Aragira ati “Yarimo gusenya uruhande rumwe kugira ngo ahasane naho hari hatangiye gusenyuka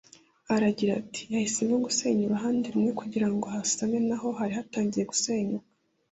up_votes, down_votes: 1, 2